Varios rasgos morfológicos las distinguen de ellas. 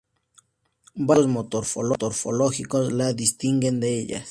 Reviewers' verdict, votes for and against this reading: rejected, 2, 2